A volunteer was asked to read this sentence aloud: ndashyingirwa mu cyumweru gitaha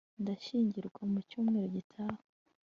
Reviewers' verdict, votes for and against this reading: accepted, 2, 0